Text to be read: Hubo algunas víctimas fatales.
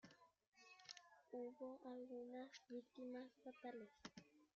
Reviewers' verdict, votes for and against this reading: rejected, 0, 2